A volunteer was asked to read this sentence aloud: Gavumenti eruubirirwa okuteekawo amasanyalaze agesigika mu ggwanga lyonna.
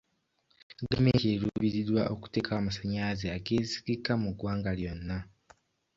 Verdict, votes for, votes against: accepted, 2, 0